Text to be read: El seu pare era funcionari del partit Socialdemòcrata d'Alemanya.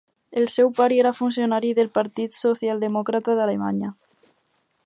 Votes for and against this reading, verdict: 4, 0, accepted